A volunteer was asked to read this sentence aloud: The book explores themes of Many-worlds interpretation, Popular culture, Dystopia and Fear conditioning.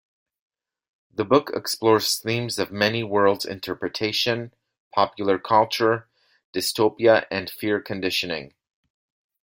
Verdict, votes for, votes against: accepted, 2, 0